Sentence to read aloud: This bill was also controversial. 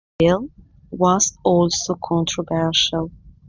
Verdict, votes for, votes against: rejected, 0, 2